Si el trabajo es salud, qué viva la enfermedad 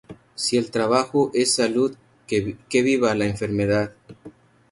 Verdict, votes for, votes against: rejected, 0, 4